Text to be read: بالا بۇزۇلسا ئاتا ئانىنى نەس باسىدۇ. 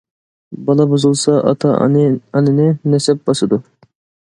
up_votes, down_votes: 0, 2